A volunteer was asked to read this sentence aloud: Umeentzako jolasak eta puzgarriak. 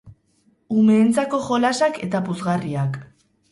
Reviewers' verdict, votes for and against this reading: rejected, 0, 2